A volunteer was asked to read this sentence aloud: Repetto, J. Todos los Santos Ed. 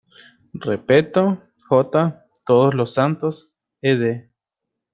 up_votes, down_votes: 0, 2